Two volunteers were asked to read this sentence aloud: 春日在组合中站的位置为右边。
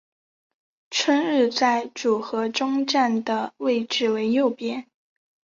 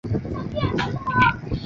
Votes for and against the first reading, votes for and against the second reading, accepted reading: 2, 0, 0, 3, first